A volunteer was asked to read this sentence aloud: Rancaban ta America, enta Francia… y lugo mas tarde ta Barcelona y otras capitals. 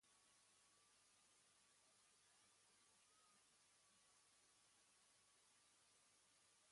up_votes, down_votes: 1, 2